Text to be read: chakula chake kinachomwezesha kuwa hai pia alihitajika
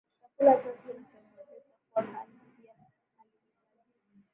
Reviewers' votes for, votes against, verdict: 1, 7, rejected